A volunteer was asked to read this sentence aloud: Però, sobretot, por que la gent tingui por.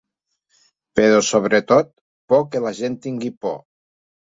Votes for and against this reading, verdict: 4, 0, accepted